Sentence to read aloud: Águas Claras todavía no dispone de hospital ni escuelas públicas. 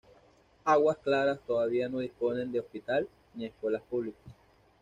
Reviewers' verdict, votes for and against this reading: accepted, 2, 0